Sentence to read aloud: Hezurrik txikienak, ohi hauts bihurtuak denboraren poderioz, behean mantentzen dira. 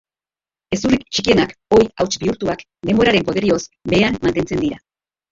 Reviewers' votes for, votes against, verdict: 0, 3, rejected